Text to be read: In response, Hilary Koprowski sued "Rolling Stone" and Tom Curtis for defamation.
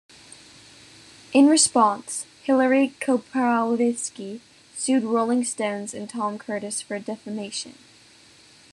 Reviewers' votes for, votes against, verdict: 0, 2, rejected